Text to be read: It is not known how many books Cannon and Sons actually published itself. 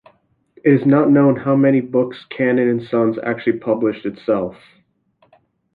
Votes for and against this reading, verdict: 2, 0, accepted